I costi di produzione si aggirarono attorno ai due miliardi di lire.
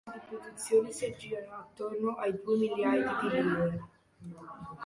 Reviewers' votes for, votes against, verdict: 0, 2, rejected